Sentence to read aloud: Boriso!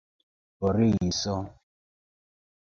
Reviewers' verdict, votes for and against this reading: accepted, 2, 1